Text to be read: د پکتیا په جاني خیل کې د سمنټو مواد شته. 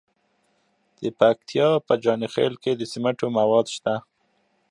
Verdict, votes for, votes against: accepted, 2, 0